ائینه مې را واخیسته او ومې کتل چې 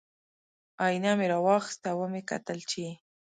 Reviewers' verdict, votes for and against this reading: accepted, 2, 0